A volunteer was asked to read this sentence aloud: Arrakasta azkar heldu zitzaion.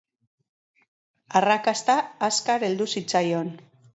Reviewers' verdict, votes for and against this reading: accepted, 3, 0